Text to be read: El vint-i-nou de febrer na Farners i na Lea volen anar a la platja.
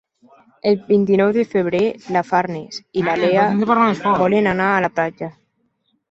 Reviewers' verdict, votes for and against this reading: rejected, 1, 3